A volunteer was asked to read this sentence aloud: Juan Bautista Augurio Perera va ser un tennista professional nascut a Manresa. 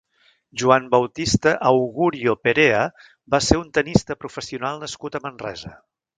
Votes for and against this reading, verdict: 0, 2, rejected